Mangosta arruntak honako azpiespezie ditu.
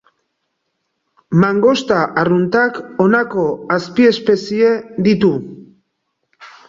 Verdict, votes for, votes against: accepted, 2, 0